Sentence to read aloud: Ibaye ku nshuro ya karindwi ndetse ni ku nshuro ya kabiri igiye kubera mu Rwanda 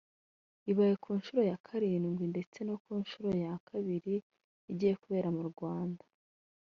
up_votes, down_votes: 0, 2